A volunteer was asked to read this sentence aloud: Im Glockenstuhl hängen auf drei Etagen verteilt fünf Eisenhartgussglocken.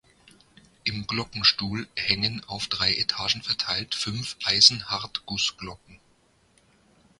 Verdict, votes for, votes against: accepted, 2, 0